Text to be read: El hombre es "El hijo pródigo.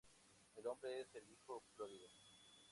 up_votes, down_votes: 0, 2